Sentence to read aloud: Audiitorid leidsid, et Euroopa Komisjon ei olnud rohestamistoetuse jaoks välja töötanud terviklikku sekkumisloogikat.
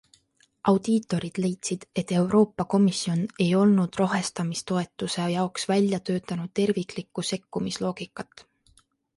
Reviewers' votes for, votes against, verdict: 2, 0, accepted